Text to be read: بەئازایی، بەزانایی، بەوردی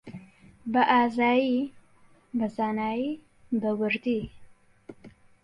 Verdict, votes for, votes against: accepted, 2, 0